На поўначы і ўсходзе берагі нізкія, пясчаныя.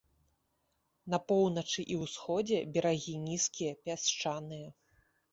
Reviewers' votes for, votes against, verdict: 0, 2, rejected